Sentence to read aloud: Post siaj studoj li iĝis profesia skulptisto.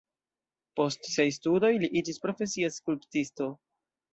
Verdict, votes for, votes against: accepted, 2, 1